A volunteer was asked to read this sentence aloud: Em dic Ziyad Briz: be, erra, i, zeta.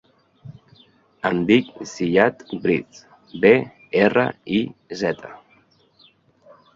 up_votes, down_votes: 2, 0